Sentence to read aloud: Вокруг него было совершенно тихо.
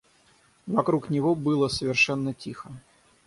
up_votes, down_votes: 3, 3